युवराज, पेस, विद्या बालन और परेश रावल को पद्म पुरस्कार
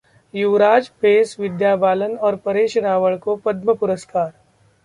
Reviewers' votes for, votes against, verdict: 2, 0, accepted